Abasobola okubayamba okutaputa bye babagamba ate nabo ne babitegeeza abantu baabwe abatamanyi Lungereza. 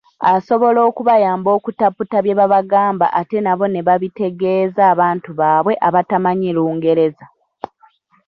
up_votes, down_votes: 0, 2